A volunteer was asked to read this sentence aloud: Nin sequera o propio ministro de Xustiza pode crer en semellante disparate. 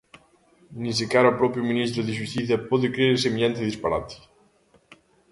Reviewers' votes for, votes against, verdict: 1, 2, rejected